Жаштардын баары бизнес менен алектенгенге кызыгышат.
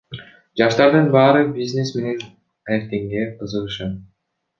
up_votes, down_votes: 1, 2